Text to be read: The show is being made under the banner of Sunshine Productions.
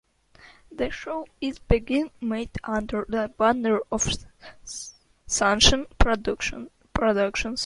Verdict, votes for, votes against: rejected, 0, 2